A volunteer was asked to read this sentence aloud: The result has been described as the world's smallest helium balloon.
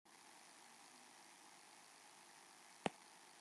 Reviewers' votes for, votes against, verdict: 0, 2, rejected